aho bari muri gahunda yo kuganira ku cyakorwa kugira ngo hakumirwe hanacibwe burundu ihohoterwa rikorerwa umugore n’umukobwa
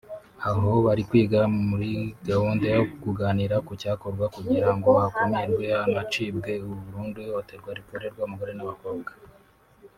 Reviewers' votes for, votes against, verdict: 0, 3, rejected